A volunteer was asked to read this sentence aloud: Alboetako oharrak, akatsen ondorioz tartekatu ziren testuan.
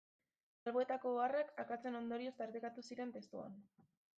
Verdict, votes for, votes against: rejected, 0, 2